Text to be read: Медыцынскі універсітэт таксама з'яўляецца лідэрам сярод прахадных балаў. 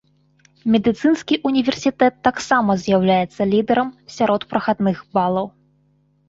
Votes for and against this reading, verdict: 2, 0, accepted